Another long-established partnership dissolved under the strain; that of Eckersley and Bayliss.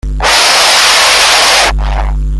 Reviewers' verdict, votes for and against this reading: rejected, 0, 2